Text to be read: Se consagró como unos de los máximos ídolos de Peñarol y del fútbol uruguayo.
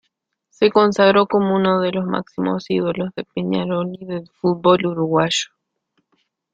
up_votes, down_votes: 1, 2